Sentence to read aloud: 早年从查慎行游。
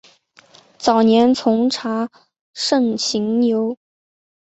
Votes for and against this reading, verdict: 4, 0, accepted